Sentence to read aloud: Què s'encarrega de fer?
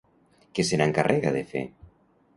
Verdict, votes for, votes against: rejected, 1, 2